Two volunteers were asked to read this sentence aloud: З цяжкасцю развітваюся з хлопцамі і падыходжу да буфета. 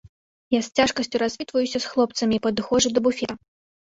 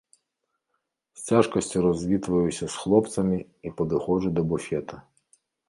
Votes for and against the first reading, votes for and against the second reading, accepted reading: 2, 3, 2, 0, second